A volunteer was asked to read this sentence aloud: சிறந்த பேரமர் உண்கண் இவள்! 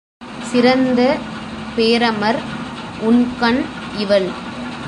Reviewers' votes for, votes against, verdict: 2, 0, accepted